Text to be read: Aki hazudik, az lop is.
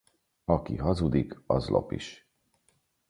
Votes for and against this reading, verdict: 4, 0, accepted